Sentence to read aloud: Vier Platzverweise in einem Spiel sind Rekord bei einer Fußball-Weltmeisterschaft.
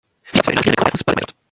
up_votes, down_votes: 0, 2